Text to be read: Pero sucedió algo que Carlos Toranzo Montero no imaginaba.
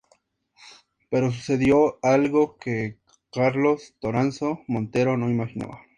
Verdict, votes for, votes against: accepted, 2, 0